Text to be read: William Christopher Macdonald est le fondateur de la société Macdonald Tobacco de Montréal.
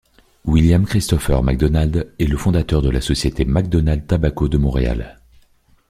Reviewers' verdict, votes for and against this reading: rejected, 0, 3